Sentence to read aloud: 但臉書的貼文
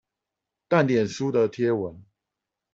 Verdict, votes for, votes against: accepted, 4, 0